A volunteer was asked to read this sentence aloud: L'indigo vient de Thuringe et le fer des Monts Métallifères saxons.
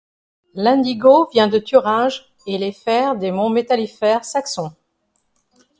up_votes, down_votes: 0, 2